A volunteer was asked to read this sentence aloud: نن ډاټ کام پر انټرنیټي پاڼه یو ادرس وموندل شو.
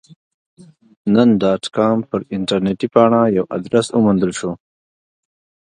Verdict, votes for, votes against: accepted, 2, 0